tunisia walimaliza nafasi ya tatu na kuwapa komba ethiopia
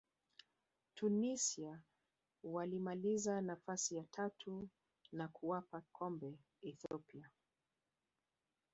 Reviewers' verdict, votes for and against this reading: rejected, 1, 2